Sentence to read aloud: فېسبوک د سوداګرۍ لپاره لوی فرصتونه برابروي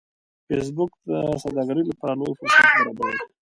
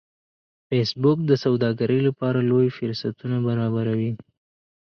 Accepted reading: second